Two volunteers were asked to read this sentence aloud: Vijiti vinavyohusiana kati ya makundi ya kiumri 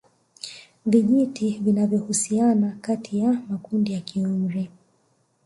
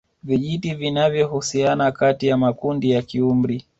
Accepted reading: second